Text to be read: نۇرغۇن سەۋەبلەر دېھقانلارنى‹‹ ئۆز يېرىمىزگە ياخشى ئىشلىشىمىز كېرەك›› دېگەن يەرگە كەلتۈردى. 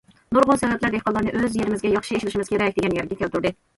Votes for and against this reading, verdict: 2, 0, accepted